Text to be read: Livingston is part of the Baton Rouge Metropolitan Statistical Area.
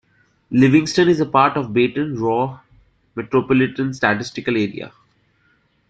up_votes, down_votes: 0, 2